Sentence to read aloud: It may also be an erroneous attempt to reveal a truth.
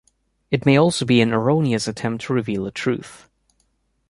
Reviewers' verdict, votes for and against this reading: accepted, 2, 0